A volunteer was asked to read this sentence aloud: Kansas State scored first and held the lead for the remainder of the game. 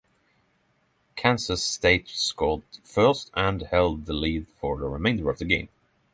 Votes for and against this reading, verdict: 3, 6, rejected